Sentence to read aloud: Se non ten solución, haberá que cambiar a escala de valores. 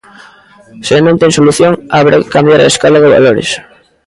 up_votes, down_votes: 0, 2